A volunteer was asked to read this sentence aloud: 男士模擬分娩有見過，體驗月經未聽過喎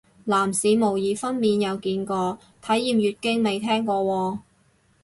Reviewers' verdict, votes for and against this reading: accepted, 2, 0